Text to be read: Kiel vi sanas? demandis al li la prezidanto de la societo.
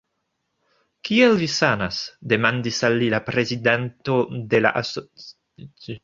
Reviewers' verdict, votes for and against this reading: rejected, 0, 2